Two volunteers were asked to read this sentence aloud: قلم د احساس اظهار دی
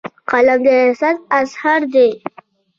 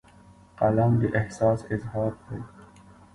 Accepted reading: first